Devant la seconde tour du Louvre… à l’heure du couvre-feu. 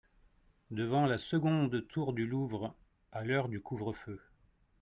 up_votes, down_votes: 2, 0